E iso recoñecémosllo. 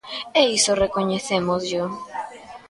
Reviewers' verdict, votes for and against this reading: accepted, 2, 0